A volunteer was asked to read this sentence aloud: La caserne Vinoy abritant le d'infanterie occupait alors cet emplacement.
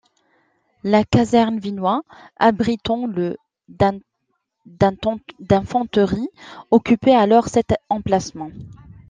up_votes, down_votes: 0, 2